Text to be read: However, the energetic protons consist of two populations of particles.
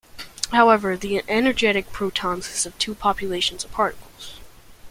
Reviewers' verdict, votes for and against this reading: rejected, 1, 2